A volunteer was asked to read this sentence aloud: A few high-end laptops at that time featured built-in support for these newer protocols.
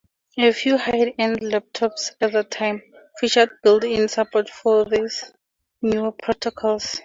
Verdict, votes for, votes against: rejected, 2, 2